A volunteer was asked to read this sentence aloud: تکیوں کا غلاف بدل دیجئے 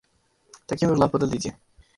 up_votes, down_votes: 0, 2